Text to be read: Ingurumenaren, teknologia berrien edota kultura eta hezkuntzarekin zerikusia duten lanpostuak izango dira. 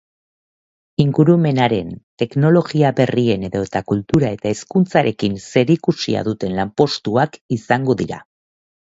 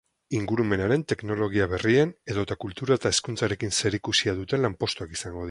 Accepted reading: first